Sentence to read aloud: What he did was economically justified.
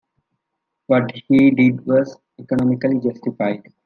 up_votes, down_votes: 2, 1